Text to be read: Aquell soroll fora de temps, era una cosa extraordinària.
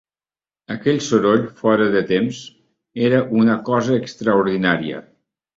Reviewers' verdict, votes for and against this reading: accepted, 3, 0